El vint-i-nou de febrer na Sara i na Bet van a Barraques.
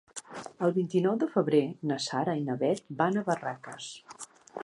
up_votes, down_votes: 3, 0